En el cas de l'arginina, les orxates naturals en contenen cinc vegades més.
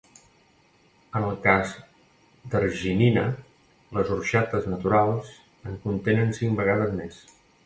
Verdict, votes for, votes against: rejected, 1, 2